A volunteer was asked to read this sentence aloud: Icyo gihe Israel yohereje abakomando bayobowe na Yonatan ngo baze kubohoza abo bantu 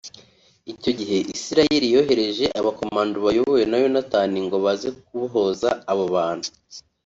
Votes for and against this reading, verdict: 2, 0, accepted